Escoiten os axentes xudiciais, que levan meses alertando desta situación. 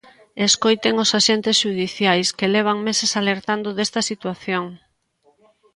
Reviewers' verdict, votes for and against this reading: accepted, 2, 0